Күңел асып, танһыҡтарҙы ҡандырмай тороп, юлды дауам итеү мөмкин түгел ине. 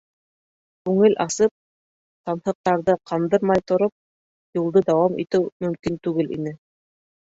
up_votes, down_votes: 1, 2